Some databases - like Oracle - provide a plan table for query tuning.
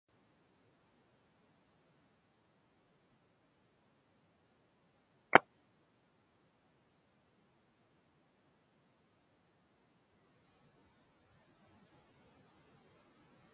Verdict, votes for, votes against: rejected, 0, 2